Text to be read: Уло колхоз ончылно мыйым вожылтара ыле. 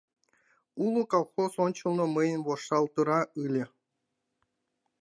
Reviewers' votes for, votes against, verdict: 1, 2, rejected